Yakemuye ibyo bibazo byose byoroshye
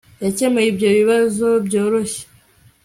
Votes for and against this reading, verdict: 2, 0, accepted